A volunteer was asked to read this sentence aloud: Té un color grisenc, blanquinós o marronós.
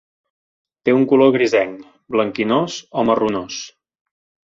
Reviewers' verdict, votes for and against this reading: accepted, 3, 0